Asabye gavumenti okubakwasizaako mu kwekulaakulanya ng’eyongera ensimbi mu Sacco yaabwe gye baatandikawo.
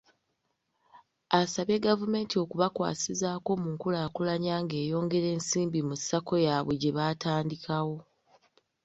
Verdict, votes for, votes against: rejected, 1, 2